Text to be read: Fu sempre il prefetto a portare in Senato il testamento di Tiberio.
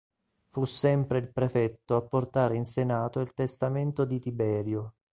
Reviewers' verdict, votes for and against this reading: accepted, 2, 0